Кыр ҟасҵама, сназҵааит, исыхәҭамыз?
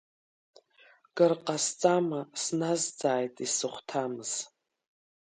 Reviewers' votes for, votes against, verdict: 3, 0, accepted